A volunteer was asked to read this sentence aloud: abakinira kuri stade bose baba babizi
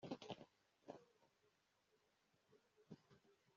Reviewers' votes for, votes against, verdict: 0, 2, rejected